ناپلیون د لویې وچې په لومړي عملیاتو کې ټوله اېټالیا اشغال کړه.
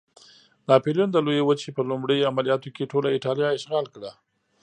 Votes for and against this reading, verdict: 2, 0, accepted